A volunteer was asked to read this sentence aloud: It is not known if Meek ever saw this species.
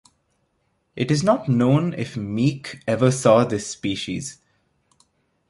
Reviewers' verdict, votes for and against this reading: accepted, 2, 0